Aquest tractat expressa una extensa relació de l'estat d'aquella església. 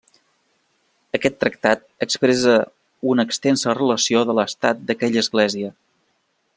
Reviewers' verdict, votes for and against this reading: rejected, 1, 2